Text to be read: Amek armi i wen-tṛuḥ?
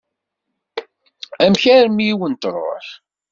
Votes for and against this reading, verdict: 1, 2, rejected